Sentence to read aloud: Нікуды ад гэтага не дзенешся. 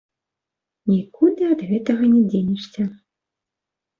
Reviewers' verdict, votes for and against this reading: rejected, 0, 2